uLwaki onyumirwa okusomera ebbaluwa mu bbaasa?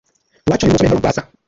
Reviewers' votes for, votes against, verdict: 0, 2, rejected